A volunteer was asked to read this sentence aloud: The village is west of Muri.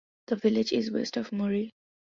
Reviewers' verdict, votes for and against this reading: accepted, 2, 0